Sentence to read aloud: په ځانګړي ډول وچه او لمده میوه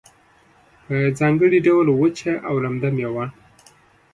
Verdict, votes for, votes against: accepted, 2, 0